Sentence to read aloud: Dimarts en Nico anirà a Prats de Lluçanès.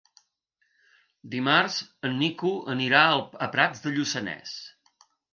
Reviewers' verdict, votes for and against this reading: rejected, 2, 3